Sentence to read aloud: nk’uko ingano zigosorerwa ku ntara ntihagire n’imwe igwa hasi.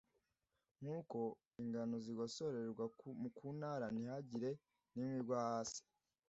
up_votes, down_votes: 1, 2